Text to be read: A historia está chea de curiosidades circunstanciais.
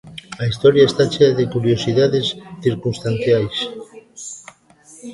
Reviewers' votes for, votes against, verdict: 2, 0, accepted